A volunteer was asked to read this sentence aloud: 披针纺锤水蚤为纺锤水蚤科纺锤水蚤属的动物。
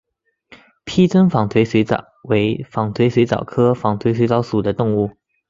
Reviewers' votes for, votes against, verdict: 2, 0, accepted